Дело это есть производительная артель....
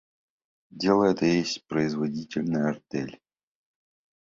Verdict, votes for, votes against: rejected, 1, 2